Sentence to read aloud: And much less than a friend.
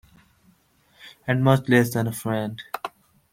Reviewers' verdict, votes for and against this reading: accepted, 3, 0